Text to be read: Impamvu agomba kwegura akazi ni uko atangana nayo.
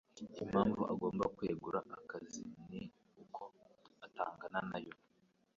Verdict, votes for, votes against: rejected, 0, 2